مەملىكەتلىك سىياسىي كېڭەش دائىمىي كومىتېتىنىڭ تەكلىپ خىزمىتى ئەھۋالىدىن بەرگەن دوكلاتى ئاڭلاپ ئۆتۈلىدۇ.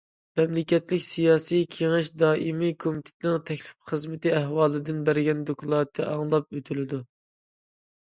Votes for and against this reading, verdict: 2, 0, accepted